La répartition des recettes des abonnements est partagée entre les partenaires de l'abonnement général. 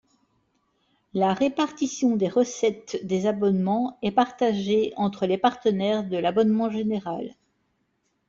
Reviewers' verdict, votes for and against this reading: accepted, 2, 0